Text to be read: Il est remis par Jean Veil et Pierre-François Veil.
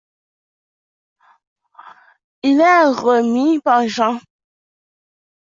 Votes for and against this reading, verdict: 0, 2, rejected